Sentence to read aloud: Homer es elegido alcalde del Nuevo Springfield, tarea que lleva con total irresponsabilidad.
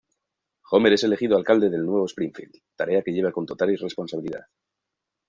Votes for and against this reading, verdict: 2, 0, accepted